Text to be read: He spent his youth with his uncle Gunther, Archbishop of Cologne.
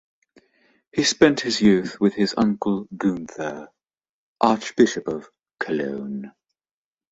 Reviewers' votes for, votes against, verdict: 3, 1, accepted